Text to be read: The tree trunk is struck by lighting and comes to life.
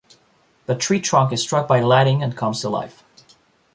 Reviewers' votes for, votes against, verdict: 2, 0, accepted